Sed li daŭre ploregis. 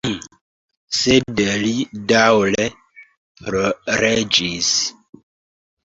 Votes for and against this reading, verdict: 1, 2, rejected